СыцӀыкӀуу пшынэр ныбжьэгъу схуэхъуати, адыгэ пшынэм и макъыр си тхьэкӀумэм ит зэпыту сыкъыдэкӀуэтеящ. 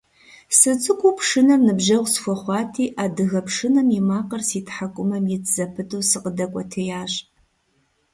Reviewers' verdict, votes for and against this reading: rejected, 0, 2